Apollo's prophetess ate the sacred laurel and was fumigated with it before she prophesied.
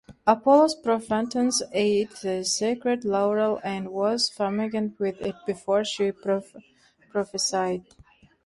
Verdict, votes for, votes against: rejected, 0, 2